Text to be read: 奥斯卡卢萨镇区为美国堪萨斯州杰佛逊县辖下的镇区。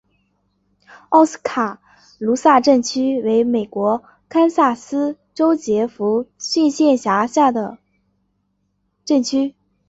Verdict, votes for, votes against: accepted, 2, 0